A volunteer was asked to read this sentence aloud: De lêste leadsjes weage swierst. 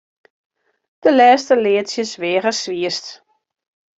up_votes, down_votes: 2, 0